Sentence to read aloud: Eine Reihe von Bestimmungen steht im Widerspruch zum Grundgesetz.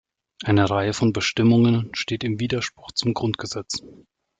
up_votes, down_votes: 2, 0